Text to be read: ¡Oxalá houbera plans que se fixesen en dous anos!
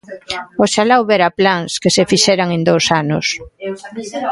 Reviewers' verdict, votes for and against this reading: rejected, 0, 2